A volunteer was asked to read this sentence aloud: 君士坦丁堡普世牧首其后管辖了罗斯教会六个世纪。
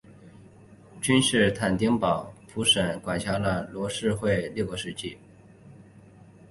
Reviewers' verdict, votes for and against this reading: accepted, 2, 1